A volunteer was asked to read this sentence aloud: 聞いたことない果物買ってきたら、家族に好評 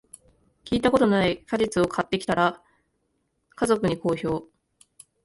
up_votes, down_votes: 1, 2